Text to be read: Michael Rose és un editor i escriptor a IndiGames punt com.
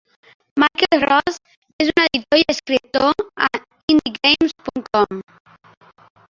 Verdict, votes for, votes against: rejected, 1, 3